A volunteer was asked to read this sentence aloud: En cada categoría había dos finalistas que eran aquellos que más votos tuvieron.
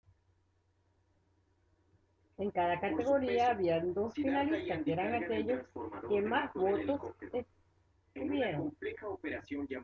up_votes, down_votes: 0, 2